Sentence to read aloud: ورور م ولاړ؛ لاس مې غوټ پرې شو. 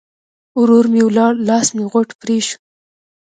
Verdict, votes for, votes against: accepted, 2, 0